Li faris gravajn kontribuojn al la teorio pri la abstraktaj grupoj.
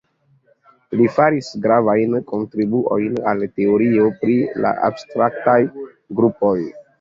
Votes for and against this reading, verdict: 1, 2, rejected